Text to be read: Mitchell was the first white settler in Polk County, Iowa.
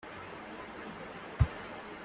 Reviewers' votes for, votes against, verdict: 0, 2, rejected